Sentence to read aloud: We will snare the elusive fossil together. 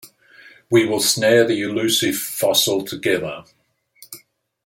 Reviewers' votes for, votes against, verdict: 2, 0, accepted